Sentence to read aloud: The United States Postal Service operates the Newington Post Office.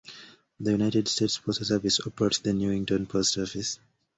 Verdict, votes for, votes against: accepted, 2, 0